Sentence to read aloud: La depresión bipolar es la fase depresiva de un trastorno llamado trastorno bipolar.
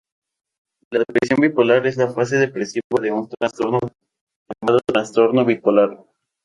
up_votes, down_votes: 2, 2